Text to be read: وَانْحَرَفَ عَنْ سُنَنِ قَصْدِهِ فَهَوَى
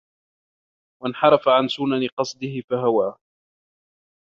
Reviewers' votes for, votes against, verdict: 1, 2, rejected